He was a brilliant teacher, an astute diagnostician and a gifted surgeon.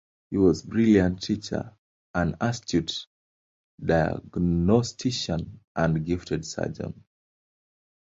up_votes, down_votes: 2, 1